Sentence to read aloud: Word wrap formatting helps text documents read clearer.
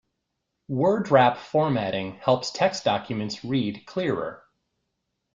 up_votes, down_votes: 2, 0